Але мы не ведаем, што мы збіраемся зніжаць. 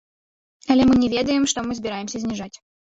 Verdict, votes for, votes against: rejected, 0, 2